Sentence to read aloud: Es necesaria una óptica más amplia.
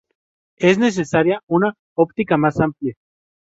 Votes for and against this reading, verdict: 0, 2, rejected